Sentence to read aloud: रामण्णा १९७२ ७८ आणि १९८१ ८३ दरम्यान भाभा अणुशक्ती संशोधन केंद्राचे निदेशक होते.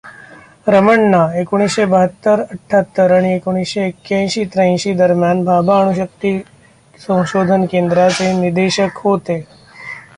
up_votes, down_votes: 0, 2